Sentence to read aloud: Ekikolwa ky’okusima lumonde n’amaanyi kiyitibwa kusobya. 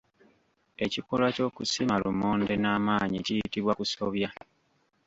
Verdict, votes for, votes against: rejected, 1, 2